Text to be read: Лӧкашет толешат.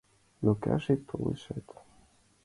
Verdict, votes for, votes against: rejected, 1, 6